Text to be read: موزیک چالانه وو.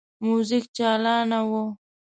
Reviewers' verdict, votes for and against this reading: accepted, 2, 0